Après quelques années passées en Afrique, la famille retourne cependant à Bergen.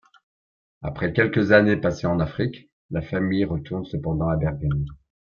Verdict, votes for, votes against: rejected, 0, 2